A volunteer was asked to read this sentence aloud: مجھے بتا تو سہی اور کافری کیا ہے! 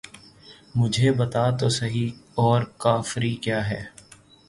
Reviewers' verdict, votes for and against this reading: accepted, 3, 0